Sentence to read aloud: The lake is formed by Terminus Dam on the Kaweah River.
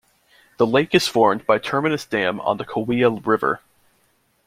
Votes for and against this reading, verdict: 2, 0, accepted